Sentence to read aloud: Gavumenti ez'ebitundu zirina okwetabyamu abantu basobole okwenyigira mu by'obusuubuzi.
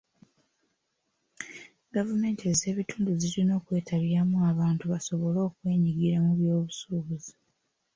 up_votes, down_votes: 3, 0